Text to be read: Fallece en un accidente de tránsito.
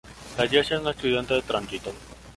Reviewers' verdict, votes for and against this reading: accepted, 2, 0